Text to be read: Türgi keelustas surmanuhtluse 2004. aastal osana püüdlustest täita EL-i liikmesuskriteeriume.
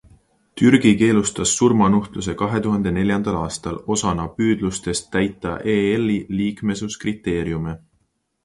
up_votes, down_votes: 0, 2